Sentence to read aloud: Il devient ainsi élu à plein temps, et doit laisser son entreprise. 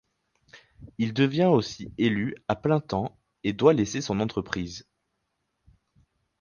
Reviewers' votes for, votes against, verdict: 0, 4, rejected